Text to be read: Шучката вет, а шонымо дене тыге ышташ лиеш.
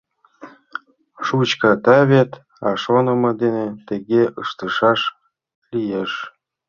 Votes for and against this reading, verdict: 0, 2, rejected